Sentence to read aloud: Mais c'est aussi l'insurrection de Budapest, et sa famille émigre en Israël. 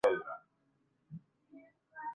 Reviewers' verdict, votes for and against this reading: rejected, 0, 2